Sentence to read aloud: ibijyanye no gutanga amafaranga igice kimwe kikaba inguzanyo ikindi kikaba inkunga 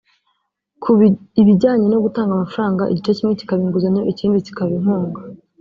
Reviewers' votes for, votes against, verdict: 3, 4, rejected